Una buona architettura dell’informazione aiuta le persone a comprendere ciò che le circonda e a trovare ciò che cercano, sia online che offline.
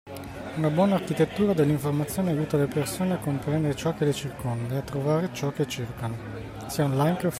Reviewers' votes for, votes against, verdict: 0, 2, rejected